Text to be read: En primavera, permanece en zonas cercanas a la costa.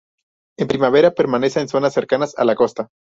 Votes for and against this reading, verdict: 2, 0, accepted